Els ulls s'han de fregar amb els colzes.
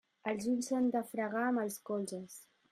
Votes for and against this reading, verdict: 2, 0, accepted